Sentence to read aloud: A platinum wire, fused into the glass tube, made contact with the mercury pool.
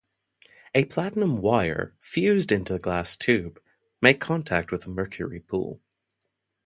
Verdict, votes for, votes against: accepted, 2, 0